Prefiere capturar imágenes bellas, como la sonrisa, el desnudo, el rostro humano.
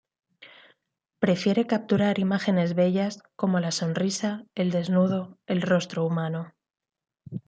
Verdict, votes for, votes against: accepted, 2, 0